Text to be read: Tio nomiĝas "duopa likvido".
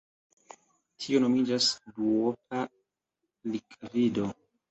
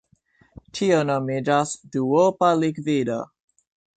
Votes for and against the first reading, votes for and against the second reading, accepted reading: 0, 2, 2, 0, second